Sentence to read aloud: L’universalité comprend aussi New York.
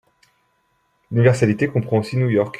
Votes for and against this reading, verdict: 0, 2, rejected